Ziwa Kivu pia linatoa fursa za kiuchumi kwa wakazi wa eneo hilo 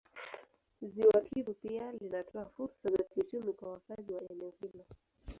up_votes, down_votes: 2, 1